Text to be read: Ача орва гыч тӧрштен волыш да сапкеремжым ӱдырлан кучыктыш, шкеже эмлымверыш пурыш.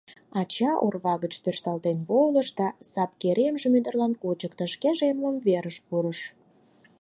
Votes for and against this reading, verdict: 4, 2, accepted